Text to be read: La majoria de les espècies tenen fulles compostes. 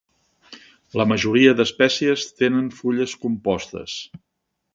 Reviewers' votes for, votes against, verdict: 2, 3, rejected